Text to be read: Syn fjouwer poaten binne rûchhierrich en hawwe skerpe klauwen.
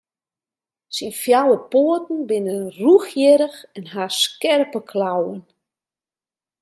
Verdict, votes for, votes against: rejected, 0, 2